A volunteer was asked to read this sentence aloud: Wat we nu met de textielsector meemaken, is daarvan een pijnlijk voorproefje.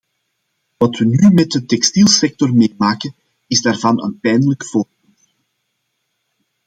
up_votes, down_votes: 0, 2